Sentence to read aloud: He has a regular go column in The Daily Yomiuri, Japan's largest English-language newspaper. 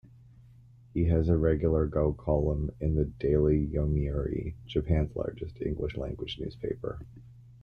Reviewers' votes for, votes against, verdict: 2, 1, accepted